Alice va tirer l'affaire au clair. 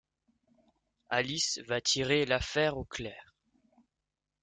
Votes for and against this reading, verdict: 2, 0, accepted